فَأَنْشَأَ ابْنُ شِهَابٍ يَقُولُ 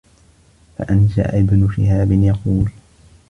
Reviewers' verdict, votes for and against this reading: accepted, 2, 1